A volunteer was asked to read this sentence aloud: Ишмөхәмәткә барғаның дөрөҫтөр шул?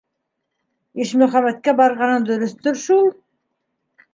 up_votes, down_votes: 2, 0